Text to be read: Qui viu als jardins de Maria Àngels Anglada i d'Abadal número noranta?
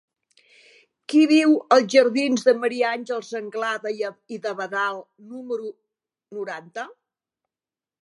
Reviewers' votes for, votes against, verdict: 1, 2, rejected